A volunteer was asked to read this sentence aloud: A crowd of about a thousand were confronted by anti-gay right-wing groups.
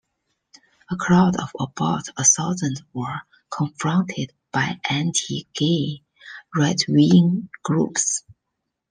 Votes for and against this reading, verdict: 1, 2, rejected